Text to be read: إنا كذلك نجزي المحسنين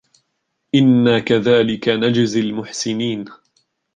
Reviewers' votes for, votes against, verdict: 1, 2, rejected